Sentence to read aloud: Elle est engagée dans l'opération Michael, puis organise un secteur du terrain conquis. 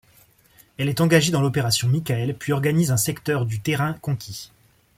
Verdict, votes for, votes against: accepted, 2, 1